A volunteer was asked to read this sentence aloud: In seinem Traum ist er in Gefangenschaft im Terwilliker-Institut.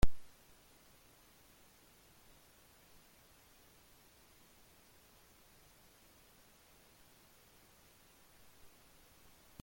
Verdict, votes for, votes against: rejected, 0, 2